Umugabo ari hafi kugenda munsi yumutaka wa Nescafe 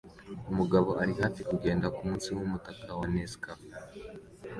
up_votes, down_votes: 2, 1